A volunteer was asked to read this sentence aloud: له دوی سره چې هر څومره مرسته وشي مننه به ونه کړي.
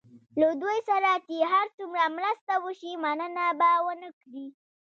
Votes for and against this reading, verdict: 0, 2, rejected